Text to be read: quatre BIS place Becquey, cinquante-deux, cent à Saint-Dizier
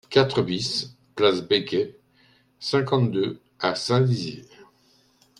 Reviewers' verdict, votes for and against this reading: rejected, 1, 2